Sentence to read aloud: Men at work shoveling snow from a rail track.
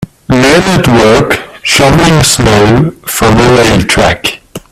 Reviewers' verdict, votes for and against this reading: rejected, 1, 2